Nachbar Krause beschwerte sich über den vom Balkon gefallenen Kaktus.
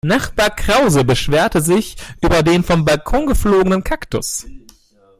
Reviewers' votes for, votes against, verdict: 0, 2, rejected